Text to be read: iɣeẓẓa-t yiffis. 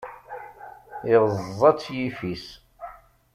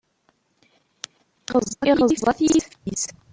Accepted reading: first